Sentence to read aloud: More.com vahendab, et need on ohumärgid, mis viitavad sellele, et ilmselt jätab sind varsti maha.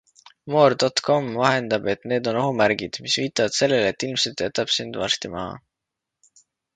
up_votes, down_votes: 2, 0